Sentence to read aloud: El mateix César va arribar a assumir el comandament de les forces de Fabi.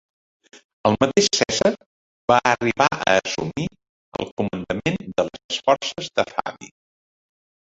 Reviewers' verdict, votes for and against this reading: rejected, 0, 2